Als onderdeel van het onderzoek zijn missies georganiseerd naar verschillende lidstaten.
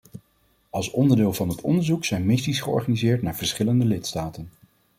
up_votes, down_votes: 2, 0